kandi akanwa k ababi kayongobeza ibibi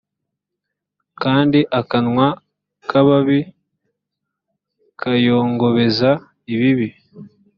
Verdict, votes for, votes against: accepted, 3, 0